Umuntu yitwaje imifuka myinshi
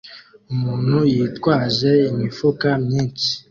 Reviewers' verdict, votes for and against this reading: accepted, 2, 0